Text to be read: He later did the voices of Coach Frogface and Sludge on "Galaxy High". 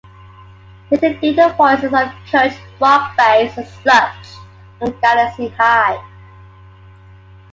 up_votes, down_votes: 0, 2